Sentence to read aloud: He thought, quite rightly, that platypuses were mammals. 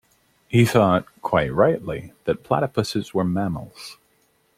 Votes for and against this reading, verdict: 2, 0, accepted